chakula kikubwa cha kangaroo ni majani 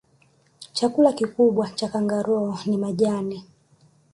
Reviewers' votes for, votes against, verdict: 2, 0, accepted